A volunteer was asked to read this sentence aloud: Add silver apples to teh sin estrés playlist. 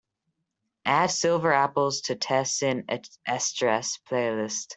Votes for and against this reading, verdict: 3, 0, accepted